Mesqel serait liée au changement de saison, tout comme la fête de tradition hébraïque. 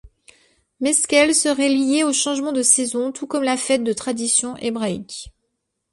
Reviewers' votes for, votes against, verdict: 2, 0, accepted